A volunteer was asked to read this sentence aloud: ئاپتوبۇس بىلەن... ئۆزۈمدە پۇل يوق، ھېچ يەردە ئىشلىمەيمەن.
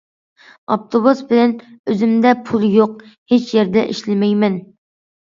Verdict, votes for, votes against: accepted, 2, 0